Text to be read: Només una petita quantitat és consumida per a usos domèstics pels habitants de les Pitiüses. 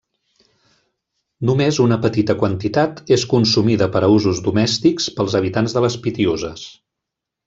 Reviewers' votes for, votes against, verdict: 2, 0, accepted